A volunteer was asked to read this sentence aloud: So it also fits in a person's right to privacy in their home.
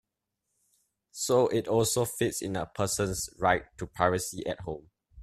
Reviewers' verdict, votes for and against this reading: rejected, 0, 2